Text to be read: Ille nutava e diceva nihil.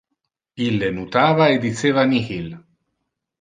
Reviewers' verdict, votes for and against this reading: accepted, 2, 1